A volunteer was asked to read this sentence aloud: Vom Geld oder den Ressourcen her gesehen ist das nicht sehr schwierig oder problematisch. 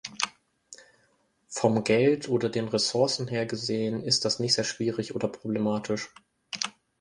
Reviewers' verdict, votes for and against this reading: accepted, 2, 0